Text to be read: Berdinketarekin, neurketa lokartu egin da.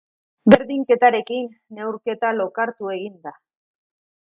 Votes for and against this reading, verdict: 2, 0, accepted